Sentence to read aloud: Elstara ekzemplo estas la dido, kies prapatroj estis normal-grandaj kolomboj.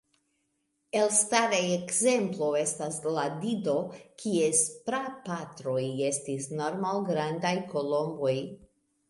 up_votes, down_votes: 1, 2